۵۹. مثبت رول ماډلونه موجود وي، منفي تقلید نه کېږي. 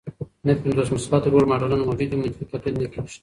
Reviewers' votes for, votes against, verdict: 0, 2, rejected